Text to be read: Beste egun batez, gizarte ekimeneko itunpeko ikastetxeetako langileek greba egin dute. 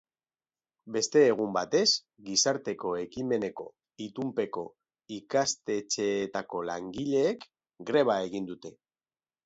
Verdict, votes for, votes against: accepted, 2, 1